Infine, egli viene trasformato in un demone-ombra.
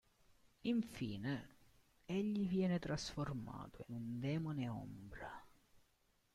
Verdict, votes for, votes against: rejected, 0, 2